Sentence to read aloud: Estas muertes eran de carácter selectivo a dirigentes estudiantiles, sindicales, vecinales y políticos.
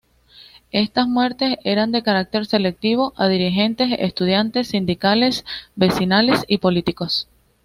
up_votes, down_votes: 1, 2